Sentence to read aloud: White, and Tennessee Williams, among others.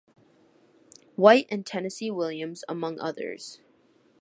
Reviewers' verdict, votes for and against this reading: accepted, 2, 0